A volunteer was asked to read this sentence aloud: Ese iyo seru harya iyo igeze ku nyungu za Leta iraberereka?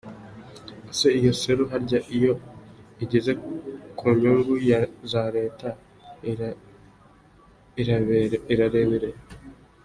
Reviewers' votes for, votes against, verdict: 1, 2, rejected